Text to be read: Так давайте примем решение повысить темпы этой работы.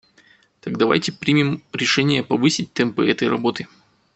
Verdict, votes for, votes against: accepted, 2, 0